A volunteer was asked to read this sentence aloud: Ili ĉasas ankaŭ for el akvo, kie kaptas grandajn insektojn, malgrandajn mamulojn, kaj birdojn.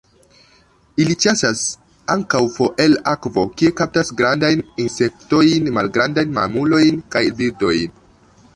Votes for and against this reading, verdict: 0, 2, rejected